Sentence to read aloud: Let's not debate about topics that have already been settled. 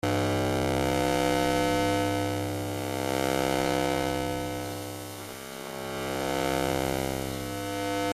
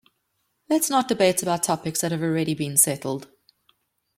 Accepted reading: second